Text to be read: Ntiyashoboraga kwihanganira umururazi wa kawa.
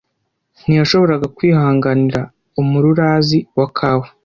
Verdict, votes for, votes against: accepted, 2, 0